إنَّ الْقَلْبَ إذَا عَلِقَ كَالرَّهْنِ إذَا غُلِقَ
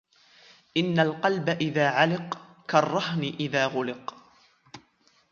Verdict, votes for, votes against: accepted, 2, 0